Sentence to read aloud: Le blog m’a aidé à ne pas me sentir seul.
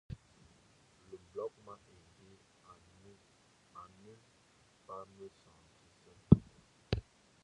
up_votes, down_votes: 0, 2